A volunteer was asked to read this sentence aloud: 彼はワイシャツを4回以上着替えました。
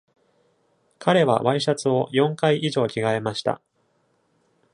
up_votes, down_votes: 0, 2